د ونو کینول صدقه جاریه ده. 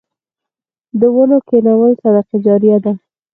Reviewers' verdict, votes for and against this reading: accepted, 4, 0